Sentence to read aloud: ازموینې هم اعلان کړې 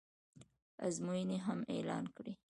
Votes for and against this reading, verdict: 2, 0, accepted